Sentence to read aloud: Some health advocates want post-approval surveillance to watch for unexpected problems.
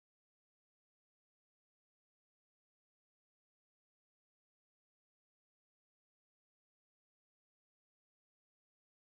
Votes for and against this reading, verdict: 0, 2, rejected